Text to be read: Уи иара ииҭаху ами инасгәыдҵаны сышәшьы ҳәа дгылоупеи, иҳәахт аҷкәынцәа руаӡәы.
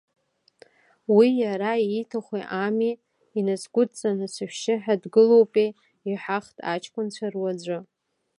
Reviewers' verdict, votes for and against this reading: accepted, 2, 0